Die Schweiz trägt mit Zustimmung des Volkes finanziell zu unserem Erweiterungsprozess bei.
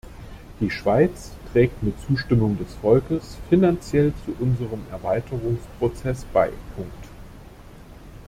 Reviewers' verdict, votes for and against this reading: rejected, 0, 2